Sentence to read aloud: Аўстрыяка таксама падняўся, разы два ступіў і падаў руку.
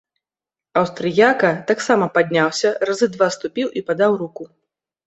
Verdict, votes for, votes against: accepted, 2, 0